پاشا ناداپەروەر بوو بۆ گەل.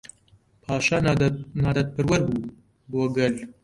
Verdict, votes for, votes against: rejected, 0, 2